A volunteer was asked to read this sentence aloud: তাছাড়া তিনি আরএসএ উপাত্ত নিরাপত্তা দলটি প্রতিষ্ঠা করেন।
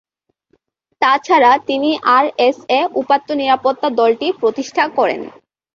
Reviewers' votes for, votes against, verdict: 3, 0, accepted